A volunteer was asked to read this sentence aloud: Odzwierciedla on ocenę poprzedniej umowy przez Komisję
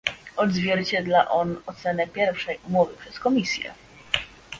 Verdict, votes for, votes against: rejected, 1, 2